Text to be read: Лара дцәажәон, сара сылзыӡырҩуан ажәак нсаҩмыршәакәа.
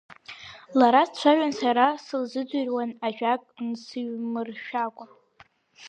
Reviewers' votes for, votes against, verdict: 0, 2, rejected